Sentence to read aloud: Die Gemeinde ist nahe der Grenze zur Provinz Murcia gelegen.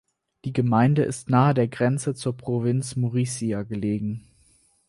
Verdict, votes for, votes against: rejected, 0, 4